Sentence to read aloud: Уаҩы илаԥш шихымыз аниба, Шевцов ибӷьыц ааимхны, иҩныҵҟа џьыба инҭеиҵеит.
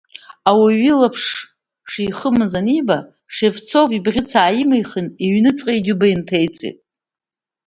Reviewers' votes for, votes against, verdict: 2, 0, accepted